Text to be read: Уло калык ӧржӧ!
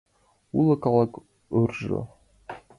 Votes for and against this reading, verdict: 0, 2, rejected